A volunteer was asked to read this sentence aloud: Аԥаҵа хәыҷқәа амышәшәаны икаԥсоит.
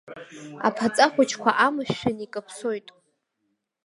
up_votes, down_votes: 1, 2